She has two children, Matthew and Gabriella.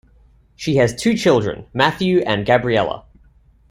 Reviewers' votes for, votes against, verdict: 2, 0, accepted